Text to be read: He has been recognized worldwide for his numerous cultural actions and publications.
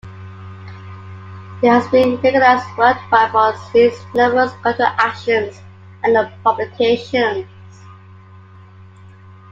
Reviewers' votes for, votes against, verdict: 0, 2, rejected